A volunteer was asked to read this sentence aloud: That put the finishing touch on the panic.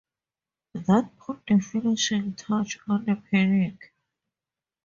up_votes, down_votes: 4, 2